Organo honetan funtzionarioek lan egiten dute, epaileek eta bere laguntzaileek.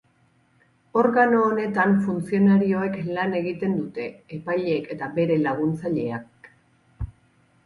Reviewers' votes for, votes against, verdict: 0, 6, rejected